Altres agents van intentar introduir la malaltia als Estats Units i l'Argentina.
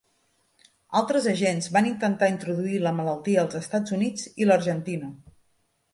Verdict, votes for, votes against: accepted, 3, 0